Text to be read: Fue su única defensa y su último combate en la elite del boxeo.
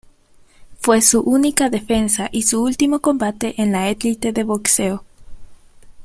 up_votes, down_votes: 1, 3